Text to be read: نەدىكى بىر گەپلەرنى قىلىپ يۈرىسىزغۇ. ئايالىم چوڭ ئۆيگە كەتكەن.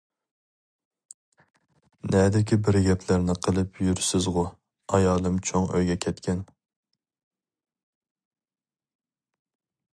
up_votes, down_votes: 2, 0